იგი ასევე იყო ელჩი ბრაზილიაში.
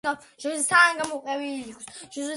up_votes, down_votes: 0, 2